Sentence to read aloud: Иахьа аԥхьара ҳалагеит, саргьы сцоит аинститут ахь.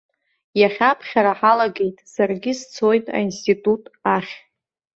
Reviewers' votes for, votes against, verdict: 2, 0, accepted